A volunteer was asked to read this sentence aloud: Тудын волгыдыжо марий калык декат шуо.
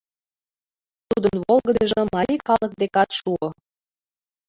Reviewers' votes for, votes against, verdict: 1, 2, rejected